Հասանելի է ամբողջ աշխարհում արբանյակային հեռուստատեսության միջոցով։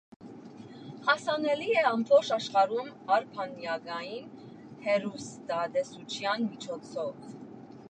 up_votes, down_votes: 1, 2